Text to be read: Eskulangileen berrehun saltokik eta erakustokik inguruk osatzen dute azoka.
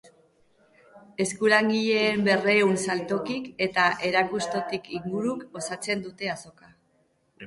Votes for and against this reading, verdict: 2, 0, accepted